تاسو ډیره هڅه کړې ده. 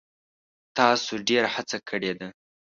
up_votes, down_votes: 1, 2